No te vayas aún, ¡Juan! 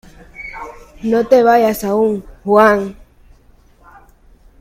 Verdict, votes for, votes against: accepted, 2, 1